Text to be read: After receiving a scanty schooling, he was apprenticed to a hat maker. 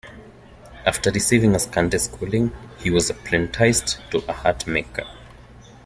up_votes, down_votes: 2, 1